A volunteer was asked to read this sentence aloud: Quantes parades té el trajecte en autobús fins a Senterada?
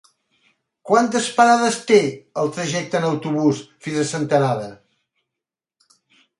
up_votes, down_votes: 4, 0